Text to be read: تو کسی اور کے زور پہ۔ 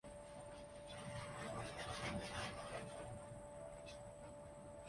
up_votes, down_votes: 0, 2